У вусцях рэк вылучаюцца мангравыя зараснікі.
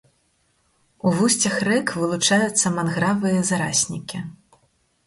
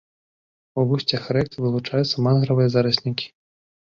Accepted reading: second